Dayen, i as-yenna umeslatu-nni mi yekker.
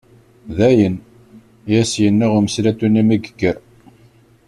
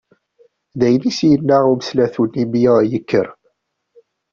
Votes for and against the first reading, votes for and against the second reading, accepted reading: 2, 0, 0, 2, first